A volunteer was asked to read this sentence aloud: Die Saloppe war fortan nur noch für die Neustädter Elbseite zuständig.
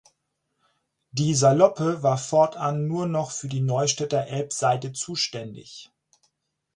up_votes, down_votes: 6, 0